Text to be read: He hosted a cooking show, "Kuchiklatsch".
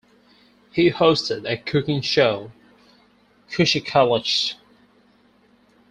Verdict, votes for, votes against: rejected, 2, 4